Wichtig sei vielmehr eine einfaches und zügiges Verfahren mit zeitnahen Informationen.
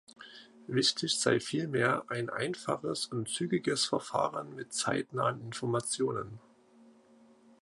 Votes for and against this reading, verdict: 1, 2, rejected